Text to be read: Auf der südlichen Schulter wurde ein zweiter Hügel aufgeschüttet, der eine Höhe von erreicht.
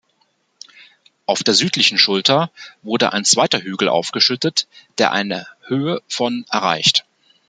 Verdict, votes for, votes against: accepted, 2, 0